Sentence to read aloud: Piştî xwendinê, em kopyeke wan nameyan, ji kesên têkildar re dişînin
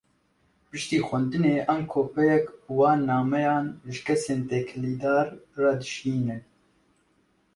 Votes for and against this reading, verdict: 2, 1, accepted